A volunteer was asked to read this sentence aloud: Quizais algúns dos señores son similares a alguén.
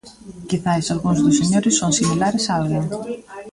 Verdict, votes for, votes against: accepted, 2, 0